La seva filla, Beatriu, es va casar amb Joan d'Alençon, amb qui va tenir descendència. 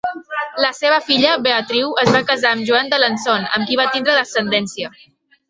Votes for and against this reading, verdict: 1, 2, rejected